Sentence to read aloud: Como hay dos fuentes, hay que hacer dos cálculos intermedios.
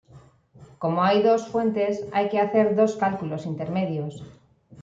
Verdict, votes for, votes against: accepted, 2, 0